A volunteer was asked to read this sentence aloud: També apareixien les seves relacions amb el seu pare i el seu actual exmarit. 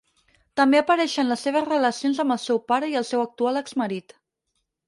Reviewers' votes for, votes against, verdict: 2, 4, rejected